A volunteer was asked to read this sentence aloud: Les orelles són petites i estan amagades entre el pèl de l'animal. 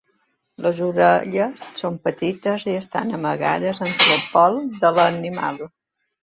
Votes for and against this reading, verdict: 0, 2, rejected